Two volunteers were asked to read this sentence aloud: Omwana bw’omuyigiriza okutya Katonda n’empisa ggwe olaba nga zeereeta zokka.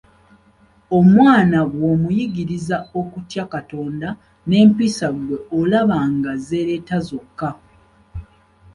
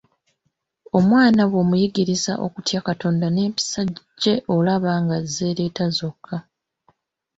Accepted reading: first